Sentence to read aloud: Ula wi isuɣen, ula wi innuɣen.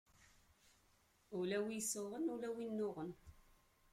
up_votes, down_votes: 0, 2